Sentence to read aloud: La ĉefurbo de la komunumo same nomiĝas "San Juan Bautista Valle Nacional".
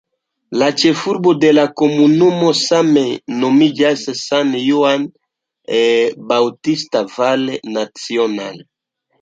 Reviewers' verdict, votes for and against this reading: accepted, 2, 1